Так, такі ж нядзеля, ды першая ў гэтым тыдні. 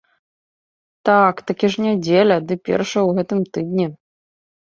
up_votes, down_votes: 2, 1